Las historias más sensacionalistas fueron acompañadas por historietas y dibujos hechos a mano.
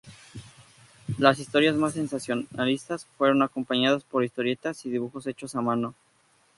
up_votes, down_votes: 2, 0